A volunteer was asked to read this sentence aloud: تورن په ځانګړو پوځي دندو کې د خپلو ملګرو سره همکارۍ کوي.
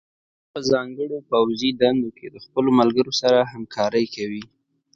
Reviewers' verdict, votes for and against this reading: accepted, 2, 0